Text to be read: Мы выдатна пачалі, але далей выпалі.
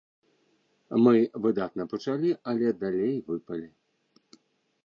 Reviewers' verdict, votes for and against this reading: accepted, 2, 0